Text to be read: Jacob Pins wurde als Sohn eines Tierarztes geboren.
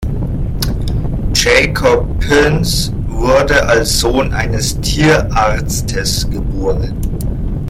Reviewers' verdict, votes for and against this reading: accepted, 2, 0